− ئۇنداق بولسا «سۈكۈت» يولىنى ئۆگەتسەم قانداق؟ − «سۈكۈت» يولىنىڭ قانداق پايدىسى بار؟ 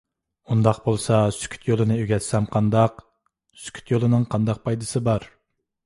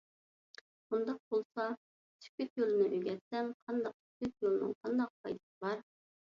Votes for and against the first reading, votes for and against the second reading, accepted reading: 2, 0, 0, 2, first